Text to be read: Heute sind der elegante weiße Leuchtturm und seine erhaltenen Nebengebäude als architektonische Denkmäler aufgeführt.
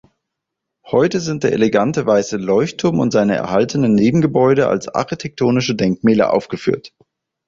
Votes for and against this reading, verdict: 6, 0, accepted